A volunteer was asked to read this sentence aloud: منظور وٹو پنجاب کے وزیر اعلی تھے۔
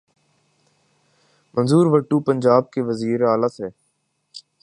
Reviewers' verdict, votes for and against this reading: accepted, 4, 0